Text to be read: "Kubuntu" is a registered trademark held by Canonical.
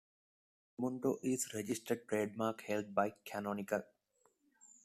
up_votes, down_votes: 2, 0